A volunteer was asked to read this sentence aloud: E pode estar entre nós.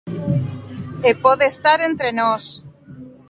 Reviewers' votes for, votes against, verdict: 3, 0, accepted